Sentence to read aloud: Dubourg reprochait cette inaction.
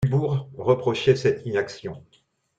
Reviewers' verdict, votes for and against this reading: rejected, 1, 2